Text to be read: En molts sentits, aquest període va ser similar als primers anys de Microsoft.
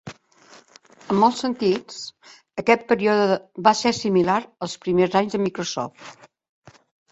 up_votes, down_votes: 2, 1